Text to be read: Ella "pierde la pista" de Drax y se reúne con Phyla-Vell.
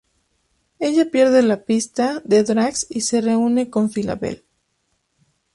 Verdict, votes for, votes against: accepted, 2, 0